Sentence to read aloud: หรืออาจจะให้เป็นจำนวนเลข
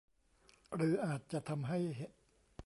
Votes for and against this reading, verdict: 0, 2, rejected